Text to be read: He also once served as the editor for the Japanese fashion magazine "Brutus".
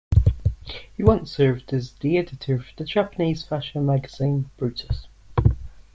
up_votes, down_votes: 0, 2